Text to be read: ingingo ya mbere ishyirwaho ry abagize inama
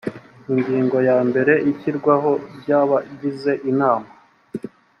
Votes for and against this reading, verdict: 3, 0, accepted